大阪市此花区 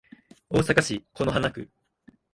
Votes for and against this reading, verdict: 6, 1, accepted